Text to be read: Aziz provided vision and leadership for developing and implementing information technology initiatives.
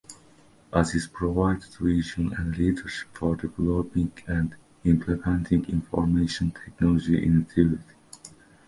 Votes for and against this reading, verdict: 0, 2, rejected